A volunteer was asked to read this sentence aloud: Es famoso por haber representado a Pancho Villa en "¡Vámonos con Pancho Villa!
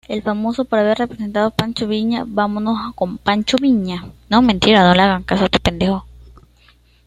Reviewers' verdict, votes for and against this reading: rejected, 1, 2